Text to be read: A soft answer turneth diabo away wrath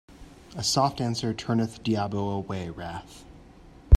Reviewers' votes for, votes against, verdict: 3, 0, accepted